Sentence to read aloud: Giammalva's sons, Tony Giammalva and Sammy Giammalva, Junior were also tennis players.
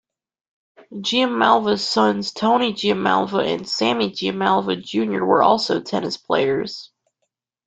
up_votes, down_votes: 2, 0